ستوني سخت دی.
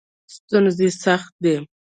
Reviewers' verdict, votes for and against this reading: accepted, 2, 0